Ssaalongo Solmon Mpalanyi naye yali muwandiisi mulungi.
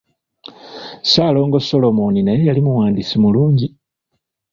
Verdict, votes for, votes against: rejected, 1, 2